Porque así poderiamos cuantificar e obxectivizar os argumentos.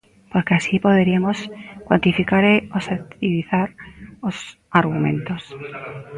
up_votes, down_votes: 0, 2